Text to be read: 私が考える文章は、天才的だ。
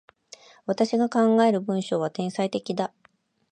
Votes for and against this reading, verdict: 2, 0, accepted